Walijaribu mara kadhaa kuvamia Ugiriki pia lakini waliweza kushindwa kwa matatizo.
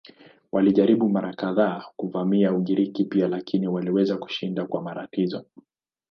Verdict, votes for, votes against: accepted, 6, 3